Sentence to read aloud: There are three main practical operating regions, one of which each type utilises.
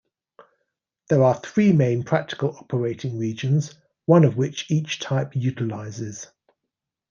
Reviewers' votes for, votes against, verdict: 2, 1, accepted